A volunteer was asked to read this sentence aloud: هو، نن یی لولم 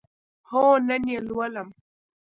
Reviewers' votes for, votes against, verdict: 2, 0, accepted